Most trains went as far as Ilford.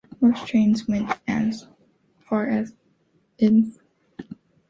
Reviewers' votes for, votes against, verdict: 1, 2, rejected